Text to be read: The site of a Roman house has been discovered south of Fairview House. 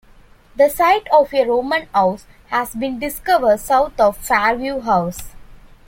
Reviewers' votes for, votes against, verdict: 1, 2, rejected